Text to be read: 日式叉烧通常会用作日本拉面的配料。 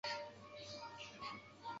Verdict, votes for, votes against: rejected, 0, 3